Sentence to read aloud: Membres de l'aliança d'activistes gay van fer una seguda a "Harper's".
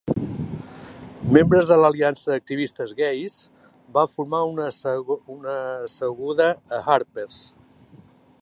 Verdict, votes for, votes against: rejected, 0, 2